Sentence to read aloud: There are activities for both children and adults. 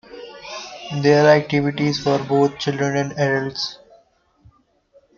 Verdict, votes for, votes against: accepted, 2, 0